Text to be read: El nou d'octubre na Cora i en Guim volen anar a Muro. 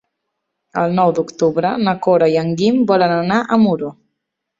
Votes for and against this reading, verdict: 3, 0, accepted